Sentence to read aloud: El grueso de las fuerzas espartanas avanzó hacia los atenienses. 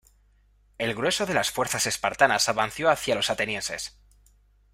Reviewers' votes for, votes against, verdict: 0, 2, rejected